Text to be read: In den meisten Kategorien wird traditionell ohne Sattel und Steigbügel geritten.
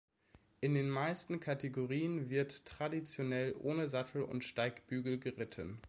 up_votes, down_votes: 2, 0